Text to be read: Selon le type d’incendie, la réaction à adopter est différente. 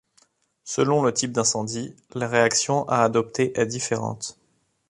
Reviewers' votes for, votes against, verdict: 2, 0, accepted